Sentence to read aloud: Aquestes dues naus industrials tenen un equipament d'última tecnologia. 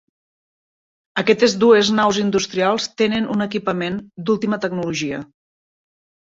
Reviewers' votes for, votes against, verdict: 1, 2, rejected